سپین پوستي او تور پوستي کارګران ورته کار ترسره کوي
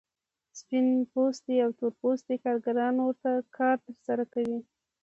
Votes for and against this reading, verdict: 2, 0, accepted